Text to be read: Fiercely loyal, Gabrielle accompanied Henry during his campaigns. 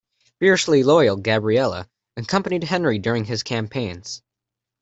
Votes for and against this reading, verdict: 1, 2, rejected